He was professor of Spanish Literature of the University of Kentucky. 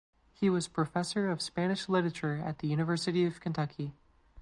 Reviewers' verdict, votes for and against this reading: rejected, 0, 2